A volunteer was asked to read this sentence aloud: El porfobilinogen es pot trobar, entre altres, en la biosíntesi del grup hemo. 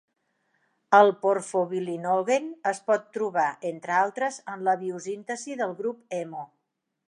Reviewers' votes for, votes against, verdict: 1, 2, rejected